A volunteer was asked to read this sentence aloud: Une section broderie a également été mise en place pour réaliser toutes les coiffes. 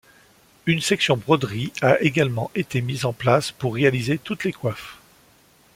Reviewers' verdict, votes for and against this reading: accepted, 2, 0